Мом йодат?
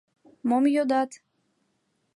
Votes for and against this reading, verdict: 2, 0, accepted